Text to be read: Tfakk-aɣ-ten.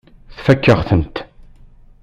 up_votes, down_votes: 1, 2